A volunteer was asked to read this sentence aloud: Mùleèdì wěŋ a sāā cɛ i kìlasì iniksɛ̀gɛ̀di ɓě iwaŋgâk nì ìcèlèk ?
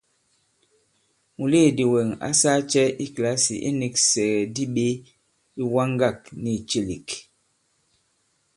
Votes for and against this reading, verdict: 1, 2, rejected